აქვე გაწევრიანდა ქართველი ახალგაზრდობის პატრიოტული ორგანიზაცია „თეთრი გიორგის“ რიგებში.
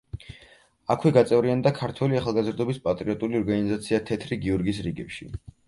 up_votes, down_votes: 4, 0